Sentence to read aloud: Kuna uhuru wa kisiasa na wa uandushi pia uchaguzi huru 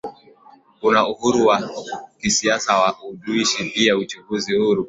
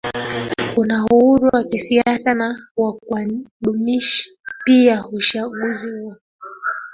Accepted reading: first